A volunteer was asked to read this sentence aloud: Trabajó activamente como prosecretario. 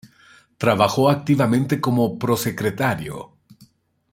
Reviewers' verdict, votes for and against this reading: accepted, 2, 0